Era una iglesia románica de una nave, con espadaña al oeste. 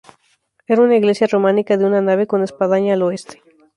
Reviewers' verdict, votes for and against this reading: accepted, 2, 0